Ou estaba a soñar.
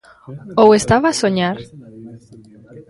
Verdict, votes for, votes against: rejected, 1, 2